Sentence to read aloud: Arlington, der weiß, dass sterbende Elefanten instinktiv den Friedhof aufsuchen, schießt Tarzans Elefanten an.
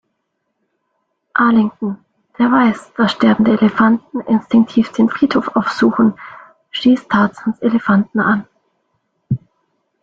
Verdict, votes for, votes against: rejected, 0, 2